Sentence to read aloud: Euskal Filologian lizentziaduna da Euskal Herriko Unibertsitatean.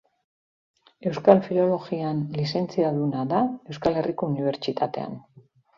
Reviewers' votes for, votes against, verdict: 3, 0, accepted